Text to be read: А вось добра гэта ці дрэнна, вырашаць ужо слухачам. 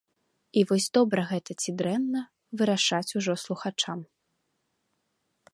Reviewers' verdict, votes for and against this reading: rejected, 0, 2